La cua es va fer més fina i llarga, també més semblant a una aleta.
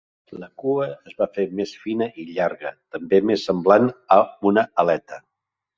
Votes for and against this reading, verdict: 2, 0, accepted